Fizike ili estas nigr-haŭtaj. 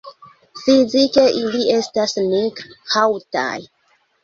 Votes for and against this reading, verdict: 0, 2, rejected